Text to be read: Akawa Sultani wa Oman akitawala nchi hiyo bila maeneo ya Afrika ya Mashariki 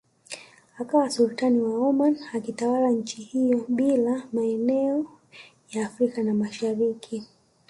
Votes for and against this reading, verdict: 1, 2, rejected